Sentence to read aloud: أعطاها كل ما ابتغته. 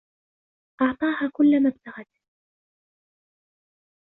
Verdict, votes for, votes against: rejected, 1, 2